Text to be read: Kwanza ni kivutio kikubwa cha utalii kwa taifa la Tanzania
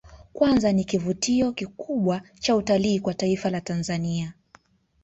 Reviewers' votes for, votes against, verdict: 2, 0, accepted